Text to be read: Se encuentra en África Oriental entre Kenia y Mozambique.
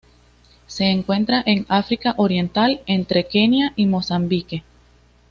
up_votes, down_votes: 2, 0